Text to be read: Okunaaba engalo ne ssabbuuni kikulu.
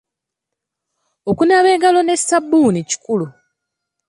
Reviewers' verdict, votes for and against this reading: accepted, 2, 0